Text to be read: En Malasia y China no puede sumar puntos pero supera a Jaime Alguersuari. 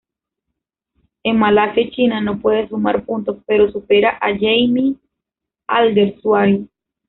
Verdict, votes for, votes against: rejected, 0, 2